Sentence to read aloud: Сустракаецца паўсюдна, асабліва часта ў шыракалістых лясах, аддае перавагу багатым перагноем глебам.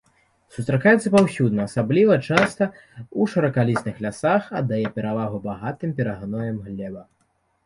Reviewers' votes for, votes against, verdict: 2, 0, accepted